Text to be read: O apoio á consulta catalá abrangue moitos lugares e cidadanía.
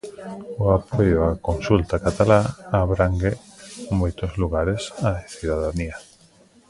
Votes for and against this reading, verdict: 0, 2, rejected